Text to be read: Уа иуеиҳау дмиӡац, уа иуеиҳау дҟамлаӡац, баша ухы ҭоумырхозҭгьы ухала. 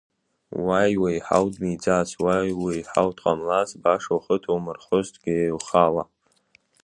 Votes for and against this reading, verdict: 2, 0, accepted